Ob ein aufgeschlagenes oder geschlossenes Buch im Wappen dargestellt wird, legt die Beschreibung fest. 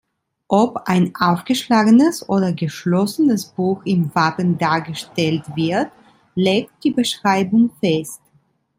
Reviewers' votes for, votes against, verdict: 3, 0, accepted